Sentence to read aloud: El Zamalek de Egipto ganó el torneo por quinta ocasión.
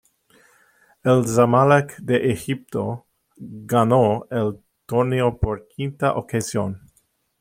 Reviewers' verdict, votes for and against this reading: rejected, 1, 2